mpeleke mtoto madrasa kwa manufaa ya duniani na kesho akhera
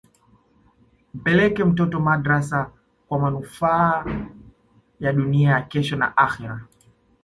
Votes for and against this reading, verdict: 0, 2, rejected